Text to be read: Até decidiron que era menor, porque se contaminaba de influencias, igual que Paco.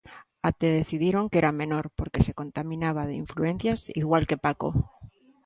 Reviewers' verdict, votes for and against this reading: accepted, 2, 0